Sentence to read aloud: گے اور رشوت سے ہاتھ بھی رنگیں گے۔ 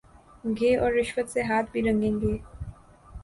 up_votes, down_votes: 2, 0